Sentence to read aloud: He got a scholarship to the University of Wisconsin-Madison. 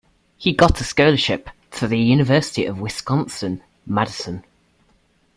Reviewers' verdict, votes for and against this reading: accepted, 2, 1